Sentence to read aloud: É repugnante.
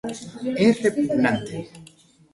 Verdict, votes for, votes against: rejected, 1, 2